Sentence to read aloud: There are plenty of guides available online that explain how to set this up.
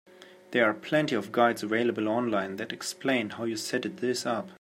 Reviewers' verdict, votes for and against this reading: rejected, 0, 2